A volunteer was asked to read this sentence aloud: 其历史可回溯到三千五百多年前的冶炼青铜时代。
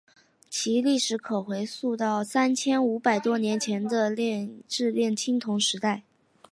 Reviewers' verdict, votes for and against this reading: accepted, 2, 1